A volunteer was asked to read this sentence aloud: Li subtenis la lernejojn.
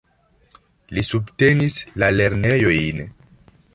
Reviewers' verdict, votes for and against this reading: accepted, 2, 1